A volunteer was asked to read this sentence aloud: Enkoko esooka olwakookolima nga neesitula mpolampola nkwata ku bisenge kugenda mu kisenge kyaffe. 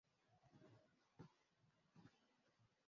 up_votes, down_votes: 0, 2